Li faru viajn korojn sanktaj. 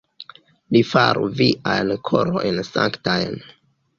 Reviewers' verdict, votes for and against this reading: rejected, 1, 2